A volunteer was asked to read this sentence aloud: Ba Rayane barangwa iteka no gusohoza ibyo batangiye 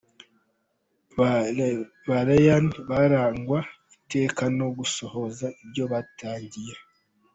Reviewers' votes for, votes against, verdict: 2, 1, accepted